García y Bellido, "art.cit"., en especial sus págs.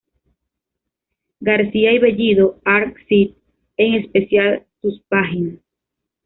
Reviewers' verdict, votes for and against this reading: accepted, 2, 0